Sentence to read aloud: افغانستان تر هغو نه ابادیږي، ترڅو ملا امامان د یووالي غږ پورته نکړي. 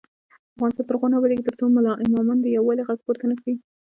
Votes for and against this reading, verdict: 0, 2, rejected